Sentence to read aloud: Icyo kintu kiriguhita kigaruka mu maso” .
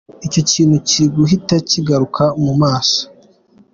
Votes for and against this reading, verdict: 2, 0, accepted